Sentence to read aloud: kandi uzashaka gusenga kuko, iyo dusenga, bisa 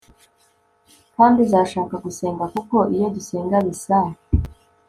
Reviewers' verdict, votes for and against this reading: accepted, 2, 0